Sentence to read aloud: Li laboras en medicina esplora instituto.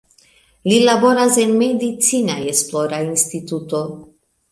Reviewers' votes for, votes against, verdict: 0, 2, rejected